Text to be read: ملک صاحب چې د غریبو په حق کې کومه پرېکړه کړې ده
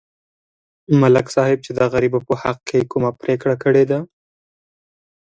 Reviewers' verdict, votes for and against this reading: accepted, 2, 0